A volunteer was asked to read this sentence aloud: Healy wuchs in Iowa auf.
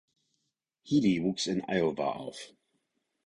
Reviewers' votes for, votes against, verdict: 4, 0, accepted